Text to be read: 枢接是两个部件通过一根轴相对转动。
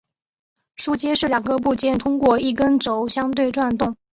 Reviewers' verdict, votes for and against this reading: accepted, 3, 0